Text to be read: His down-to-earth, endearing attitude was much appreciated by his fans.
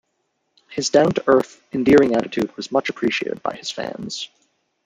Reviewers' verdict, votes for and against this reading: rejected, 0, 2